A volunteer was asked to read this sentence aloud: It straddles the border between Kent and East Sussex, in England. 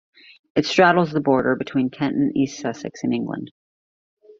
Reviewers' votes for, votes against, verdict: 2, 0, accepted